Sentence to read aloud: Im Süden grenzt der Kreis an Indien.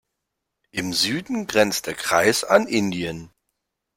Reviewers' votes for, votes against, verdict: 2, 0, accepted